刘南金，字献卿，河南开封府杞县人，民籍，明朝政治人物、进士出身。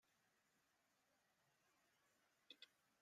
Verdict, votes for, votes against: rejected, 0, 2